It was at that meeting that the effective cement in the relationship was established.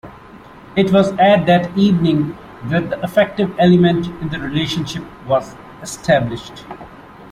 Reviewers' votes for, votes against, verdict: 0, 2, rejected